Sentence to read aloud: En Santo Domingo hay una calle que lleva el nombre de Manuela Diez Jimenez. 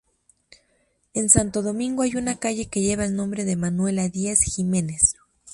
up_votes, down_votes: 2, 0